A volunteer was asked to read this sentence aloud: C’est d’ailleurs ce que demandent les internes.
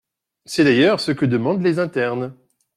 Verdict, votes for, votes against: accepted, 2, 0